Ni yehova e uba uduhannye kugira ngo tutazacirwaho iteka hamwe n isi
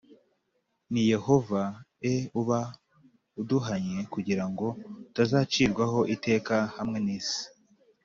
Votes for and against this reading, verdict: 2, 0, accepted